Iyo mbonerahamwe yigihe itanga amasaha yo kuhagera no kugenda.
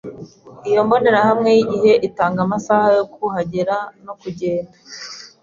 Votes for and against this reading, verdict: 2, 0, accepted